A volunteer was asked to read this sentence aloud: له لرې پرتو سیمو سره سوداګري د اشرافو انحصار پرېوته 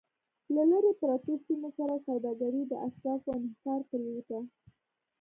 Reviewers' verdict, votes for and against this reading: rejected, 1, 2